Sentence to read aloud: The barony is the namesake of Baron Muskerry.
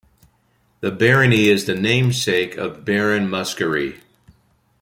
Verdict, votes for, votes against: accepted, 2, 0